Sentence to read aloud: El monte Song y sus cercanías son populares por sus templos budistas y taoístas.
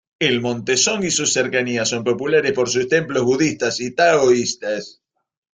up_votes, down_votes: 2, 0